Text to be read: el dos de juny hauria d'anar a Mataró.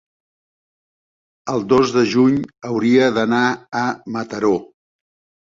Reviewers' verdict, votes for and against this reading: accepted, 3, 0